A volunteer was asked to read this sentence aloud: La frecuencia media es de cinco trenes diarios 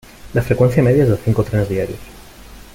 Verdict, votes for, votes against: rejected, 1, 2